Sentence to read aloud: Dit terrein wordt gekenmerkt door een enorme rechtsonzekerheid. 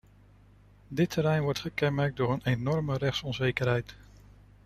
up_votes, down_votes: 2, 0